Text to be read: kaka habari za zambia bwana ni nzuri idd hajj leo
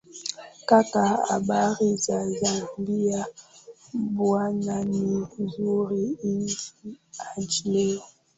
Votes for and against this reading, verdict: 0, 2, rejected